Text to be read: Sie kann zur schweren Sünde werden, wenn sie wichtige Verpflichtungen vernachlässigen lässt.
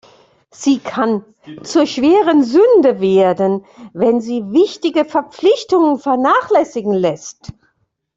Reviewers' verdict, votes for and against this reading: accepted, 2, 1